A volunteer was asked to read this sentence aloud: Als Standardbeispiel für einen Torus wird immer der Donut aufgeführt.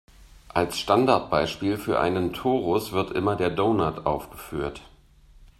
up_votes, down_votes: 2, 0